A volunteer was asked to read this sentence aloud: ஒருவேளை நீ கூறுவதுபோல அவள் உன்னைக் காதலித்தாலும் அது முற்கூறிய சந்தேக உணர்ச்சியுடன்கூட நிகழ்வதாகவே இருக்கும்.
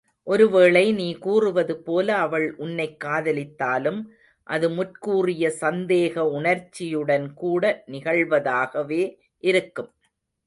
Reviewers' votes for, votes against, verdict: 2, 0, accepted